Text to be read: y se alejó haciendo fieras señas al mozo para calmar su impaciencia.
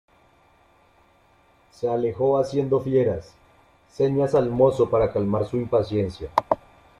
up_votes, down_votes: 0, 2